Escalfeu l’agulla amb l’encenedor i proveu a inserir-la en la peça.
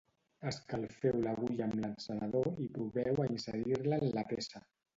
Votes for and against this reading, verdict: 1, 2, rejected